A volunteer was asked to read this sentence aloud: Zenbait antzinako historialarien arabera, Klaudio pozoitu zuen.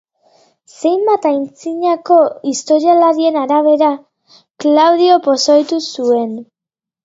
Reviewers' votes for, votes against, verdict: 5, 1, accepted